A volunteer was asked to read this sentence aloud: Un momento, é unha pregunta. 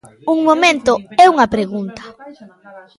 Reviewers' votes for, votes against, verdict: 2, 1, accepted